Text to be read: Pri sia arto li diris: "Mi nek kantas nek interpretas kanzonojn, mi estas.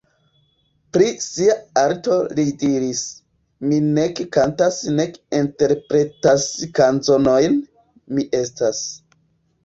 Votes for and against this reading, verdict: 2, 1, accepted